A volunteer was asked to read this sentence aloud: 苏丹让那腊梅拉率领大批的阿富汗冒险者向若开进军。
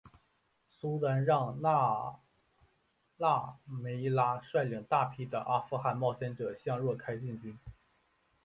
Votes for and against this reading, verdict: 2, 1, accepted